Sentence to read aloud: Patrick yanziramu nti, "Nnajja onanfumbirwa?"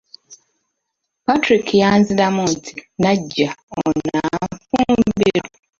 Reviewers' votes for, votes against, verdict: 0, 2, rejected